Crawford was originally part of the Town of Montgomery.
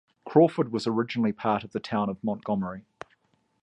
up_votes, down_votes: 2, 0